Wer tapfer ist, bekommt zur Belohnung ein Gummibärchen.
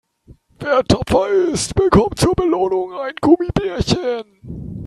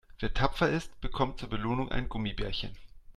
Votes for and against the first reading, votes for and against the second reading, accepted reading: 1, 2, 2, 0, second